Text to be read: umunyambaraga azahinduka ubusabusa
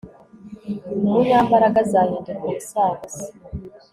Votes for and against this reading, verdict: 2, 0, accepted